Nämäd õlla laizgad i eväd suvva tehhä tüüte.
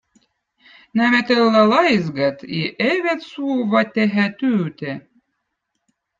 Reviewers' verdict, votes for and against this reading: accepted, 2, 0